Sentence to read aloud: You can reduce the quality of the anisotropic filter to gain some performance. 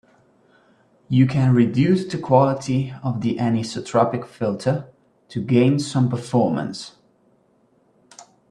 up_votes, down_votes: 2, 1